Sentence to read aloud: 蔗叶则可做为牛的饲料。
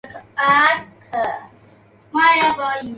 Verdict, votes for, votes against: rejected, 0, 2